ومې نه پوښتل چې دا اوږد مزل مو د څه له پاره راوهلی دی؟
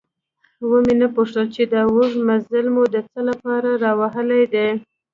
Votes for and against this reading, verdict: 0, 2, rejected